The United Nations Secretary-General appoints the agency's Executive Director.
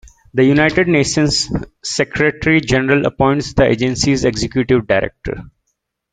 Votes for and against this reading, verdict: 2, 0, accepted